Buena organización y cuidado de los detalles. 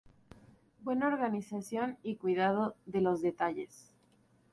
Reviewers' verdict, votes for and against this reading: accepted, 2, 0